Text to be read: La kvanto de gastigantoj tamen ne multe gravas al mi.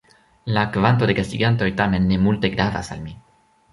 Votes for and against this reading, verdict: 1, 2, rejected